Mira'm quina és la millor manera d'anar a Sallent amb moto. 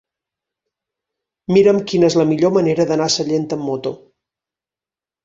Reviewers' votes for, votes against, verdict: 6, 0, accepted